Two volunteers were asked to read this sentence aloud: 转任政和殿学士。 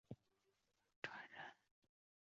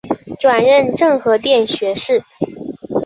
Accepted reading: second